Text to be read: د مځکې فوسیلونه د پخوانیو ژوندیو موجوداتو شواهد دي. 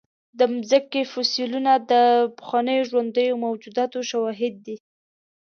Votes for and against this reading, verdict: 2, 0, accepted